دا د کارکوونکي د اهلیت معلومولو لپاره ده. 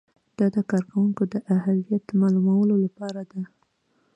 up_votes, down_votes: 2, 0